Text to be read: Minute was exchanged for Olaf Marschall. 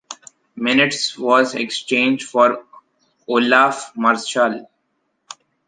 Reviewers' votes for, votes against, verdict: 0, 2, rejected